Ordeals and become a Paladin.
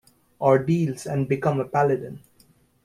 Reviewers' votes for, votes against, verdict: 2, 0, accepted